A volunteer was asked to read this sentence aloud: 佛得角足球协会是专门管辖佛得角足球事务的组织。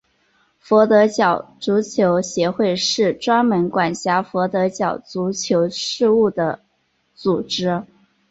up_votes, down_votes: 3, 1